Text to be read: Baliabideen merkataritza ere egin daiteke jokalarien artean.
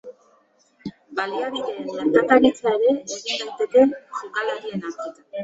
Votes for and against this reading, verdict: 0, 2, rejected